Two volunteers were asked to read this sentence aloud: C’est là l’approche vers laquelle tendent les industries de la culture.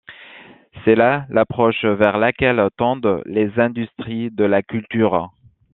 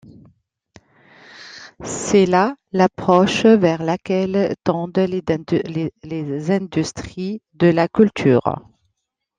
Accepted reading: first